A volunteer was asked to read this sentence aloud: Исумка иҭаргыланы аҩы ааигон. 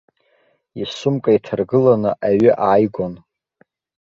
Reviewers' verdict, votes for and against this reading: accepted, 2, 0